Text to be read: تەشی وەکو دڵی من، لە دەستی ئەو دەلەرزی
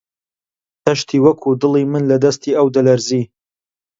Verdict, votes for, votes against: rejected, 0, 2